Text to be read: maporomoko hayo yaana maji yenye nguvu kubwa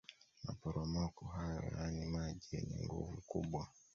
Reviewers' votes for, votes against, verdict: 2, 1, accepted